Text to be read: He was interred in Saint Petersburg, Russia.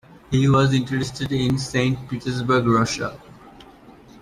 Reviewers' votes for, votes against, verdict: 0, 2, rejected